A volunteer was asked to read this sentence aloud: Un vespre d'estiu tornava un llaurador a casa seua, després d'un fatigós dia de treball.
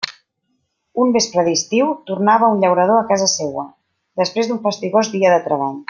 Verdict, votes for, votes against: rejected, 0, 2